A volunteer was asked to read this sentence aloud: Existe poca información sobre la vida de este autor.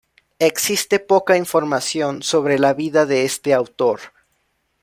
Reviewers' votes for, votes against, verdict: 2, 0, accepted